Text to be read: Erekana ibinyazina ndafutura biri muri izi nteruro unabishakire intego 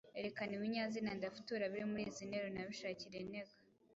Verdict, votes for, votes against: accepted, 2, 0